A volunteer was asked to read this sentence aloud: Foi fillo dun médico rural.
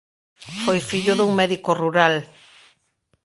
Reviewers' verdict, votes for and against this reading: rejected, 1, 2